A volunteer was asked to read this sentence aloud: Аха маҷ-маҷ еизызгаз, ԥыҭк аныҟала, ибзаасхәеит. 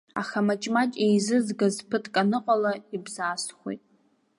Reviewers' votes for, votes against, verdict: 2, 0, accepted